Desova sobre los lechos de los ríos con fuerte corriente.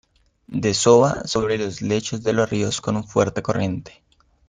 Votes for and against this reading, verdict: 1, 2, rejected